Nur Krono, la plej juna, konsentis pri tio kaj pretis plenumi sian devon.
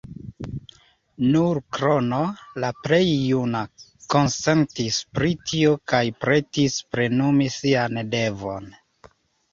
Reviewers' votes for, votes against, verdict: 1, 2, rejected